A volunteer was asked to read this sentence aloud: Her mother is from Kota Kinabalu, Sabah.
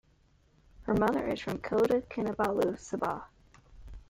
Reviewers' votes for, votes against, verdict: 1, 3, rejected